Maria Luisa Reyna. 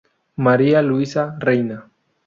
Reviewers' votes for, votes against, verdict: 0, 2, rejected